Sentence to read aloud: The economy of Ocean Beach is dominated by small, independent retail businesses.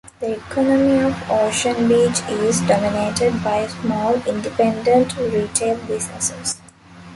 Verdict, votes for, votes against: accepted, 2, 0